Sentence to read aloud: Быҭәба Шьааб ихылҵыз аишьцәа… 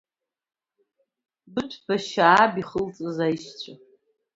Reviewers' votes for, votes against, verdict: 2, 0, accepted